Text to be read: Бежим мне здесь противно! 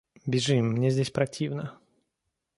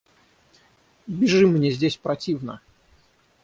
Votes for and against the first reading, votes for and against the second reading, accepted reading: 2, 0, 0, 3, first